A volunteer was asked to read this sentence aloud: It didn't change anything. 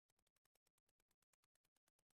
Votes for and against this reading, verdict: 0, 2, rejected